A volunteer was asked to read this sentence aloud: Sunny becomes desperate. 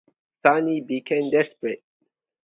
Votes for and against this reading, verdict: 0, 2, rejected